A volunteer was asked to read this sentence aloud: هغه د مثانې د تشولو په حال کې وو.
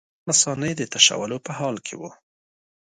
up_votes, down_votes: 2, 0